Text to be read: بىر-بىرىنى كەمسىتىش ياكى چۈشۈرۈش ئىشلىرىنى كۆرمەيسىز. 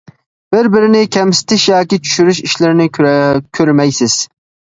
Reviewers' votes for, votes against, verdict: 0, 2, rejected